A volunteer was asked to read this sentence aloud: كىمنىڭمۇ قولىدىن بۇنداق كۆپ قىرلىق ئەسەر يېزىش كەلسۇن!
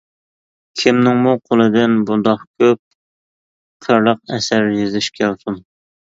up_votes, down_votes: 2, 0